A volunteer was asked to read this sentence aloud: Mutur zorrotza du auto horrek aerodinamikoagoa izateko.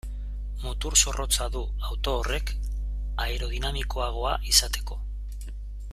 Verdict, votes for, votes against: accepted, 2, 0